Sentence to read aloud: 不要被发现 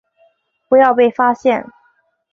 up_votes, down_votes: 2, 0